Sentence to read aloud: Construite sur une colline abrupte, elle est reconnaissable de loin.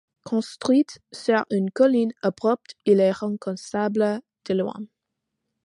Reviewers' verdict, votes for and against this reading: accepted, 2, 0